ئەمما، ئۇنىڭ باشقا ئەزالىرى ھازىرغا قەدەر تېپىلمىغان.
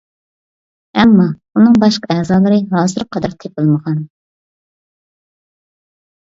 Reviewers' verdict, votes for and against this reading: accepted, 2, 0